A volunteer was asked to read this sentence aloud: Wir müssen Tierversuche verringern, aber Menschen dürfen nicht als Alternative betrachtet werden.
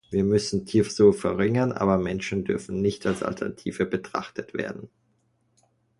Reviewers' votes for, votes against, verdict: 1, 2, rejected